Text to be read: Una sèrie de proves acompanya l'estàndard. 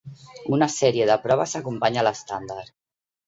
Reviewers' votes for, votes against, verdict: 2, 0, accepted